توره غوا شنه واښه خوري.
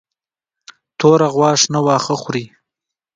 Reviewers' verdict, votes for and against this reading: accepted, 2, 1